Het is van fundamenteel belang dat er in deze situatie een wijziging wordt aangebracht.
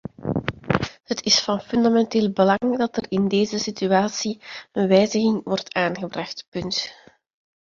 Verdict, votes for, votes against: rejected, 0, 2